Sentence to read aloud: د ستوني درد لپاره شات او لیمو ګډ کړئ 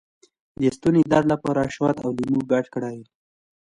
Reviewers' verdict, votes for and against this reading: accepted, 2, 0